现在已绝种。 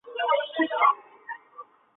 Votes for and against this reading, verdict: 0, 3, rejected